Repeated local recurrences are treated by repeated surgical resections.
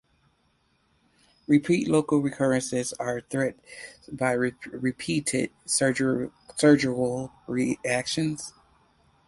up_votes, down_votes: 0, 4